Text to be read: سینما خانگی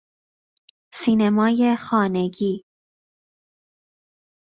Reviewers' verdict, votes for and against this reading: rejected, 1, 2